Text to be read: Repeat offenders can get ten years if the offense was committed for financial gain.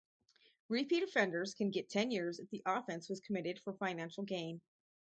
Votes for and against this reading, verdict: 0, 2, rejected